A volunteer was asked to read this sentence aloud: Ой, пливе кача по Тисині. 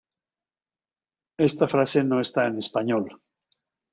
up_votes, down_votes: 0, 2